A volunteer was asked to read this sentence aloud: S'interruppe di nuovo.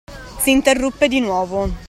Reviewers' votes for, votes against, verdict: 2, 0, accepted